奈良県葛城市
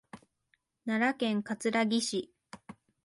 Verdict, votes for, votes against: accepted, 3, 0